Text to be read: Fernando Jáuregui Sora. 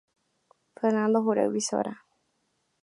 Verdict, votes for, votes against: rejected, 1, 2